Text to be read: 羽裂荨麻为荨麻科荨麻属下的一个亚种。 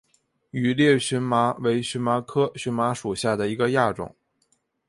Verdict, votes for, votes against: accepted, 4, 0